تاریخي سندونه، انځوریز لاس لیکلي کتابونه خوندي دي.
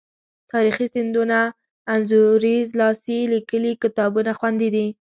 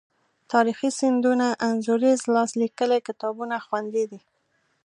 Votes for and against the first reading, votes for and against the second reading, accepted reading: 1, 2, 2, 0, second